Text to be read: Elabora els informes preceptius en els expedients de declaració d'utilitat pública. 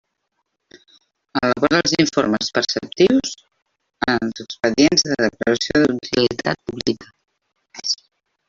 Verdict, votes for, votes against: rejected, 1, 2